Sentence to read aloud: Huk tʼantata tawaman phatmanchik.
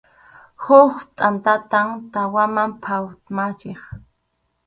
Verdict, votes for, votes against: rejected, 2, 2